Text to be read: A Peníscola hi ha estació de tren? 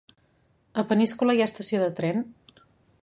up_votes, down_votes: 3, 0